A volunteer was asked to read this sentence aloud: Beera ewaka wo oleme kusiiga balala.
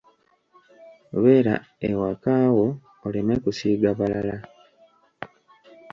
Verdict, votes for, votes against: accepted, 2, 0